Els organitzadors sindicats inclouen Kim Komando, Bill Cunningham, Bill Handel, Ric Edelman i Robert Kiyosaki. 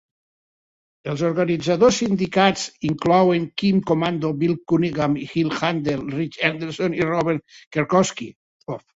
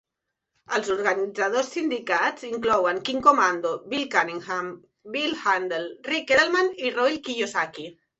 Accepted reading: second